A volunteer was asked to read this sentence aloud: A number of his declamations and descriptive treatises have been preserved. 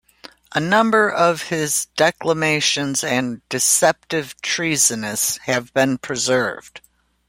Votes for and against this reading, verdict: 0, 2, rejected